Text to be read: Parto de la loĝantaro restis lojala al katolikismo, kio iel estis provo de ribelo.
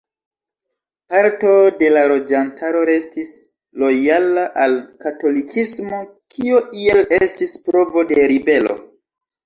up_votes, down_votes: 1, 2